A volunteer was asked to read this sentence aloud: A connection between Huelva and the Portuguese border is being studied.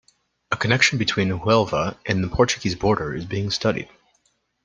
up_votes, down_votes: 2, 0